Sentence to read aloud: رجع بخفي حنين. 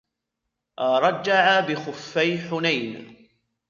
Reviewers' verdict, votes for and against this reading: rejected, 0, 2